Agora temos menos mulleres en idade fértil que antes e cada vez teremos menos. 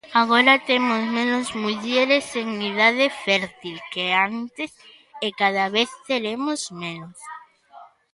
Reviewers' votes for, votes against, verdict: 2, 0, accepted